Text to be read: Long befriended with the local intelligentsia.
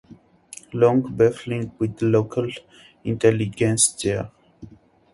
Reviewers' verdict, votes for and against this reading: rejected, 0, 2